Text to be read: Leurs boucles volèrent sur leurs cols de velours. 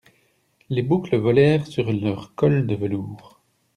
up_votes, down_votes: 0, 2